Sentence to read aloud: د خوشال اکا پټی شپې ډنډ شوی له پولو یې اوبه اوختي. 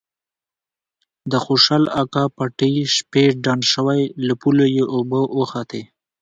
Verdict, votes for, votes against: rejected, 1, 2